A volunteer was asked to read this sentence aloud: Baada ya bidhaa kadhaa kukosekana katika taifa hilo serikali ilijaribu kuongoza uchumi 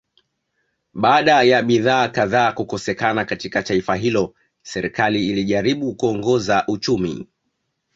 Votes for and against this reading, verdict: 2, 0, accepted